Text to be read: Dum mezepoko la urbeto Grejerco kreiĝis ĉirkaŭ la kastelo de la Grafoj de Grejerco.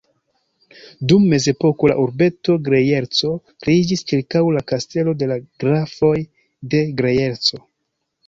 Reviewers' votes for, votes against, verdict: 1, 2, rejected